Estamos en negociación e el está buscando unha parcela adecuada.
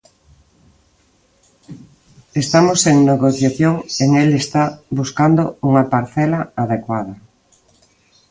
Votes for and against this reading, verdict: 0, 2, rejected